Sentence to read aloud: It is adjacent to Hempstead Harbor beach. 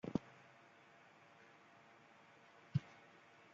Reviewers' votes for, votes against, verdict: 0, 2, rejected